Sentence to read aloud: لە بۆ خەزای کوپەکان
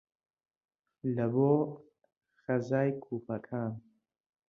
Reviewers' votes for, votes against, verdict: 1, 2, rejected